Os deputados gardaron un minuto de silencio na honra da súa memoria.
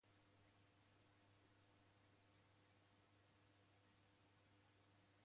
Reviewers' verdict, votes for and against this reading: rejected, 0, 2